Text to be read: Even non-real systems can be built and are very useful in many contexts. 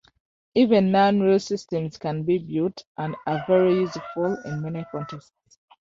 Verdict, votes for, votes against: accepted, 2, 1